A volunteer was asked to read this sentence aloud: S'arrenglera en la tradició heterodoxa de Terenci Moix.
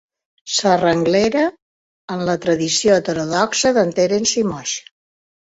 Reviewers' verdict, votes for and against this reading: rejected, 0, 3